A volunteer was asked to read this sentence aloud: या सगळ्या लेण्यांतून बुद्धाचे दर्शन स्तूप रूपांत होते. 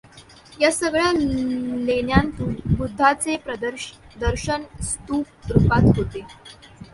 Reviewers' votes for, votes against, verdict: 1, 2, rejected